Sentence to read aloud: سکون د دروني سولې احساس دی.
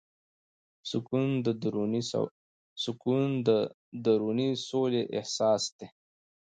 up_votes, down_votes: 1, 2